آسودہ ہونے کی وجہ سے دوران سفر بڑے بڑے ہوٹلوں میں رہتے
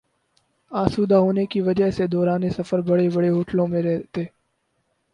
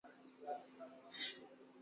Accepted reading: first